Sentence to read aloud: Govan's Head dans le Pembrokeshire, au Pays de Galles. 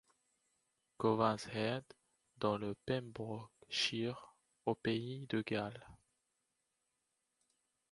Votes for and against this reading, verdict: 1, 2, rejected